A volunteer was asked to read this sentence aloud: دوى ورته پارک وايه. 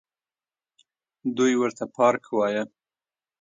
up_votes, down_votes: 0, 2